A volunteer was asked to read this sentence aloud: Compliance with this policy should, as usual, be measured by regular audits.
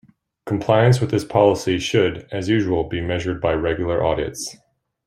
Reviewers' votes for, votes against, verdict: 2, 0, accepted